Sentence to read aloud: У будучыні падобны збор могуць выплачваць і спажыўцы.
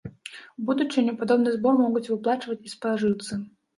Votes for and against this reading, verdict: 1, 2, rejected